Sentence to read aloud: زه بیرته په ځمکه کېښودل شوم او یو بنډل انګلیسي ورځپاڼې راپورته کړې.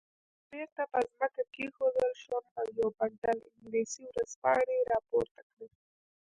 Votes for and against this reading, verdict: 1, 2, rejected